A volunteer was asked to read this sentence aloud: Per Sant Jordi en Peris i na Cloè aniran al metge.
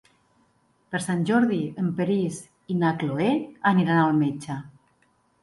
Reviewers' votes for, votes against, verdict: 2, 1, accepted